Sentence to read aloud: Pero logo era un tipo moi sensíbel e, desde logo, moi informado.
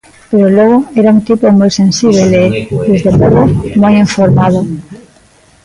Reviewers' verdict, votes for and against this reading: rejected, 0, 2